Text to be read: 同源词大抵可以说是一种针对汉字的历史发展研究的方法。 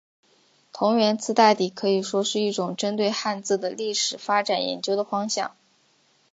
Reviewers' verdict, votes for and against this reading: accepted, 5, 1